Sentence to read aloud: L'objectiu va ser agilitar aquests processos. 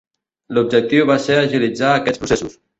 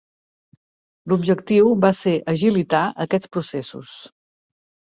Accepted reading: second